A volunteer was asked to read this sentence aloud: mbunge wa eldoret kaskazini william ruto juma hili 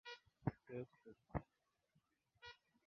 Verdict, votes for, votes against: rejected, 0, 2